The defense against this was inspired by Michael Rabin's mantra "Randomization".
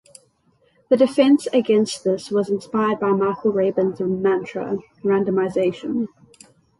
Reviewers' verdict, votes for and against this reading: rejected, 0, 3